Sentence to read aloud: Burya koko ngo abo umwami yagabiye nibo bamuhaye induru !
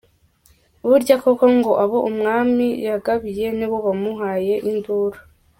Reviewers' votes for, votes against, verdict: 2, 0, accepted